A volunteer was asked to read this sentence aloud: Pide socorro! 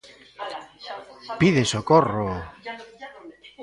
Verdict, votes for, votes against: rejected, 0, 2